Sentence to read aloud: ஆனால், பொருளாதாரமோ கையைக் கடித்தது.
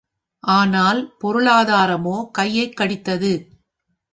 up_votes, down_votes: 4, 0